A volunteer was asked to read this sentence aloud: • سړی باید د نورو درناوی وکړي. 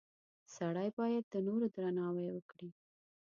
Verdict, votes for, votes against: accepted, 2, 0